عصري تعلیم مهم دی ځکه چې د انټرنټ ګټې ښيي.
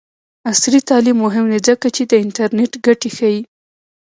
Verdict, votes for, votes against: accepted, 2, 1